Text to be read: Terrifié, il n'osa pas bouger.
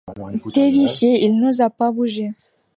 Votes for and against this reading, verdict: 3, 1, accepted